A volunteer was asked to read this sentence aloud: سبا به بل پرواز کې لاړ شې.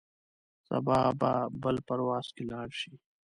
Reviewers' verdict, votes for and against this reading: rejected, 1, 2